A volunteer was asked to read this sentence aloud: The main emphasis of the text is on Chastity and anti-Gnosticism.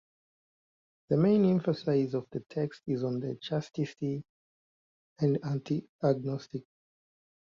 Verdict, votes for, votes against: rejected, 0, 2